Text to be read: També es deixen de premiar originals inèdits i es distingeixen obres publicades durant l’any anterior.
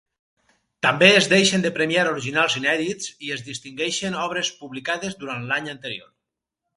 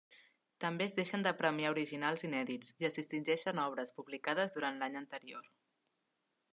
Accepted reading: second